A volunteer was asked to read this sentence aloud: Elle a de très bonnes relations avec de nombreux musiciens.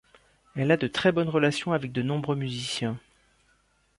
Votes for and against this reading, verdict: 2, 0, accepted